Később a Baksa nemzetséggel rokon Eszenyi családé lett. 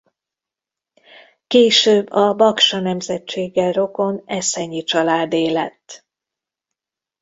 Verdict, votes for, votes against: accepted, 2, 0